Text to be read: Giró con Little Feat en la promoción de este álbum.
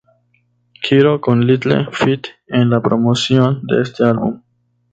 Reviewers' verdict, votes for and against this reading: accepted, 2, 0